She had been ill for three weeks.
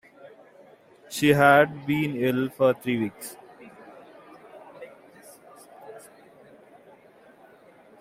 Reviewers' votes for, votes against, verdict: 2, 0, accepted